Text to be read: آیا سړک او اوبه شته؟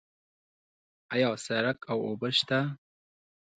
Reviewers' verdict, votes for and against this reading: accepted, 2, 0